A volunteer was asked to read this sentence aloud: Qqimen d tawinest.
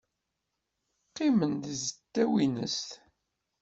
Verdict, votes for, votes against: rejected, 1, 2